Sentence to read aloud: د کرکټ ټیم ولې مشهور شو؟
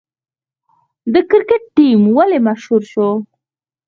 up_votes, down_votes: 4, 0